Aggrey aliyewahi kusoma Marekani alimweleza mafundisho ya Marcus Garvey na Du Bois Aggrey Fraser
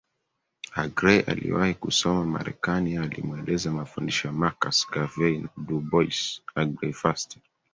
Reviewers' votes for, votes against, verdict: 4, 2, accepted